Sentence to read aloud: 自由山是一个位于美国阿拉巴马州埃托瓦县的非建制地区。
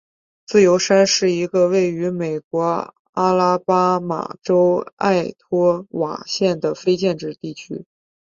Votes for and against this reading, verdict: 5, 1, accepted